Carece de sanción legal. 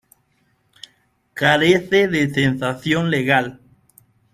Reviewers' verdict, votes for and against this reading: rejected, 0, 2